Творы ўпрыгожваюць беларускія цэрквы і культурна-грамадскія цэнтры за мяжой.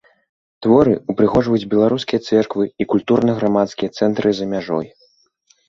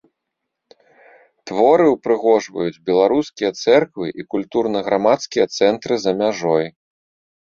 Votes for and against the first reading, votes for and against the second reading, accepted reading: 1, 2, 2, 0, second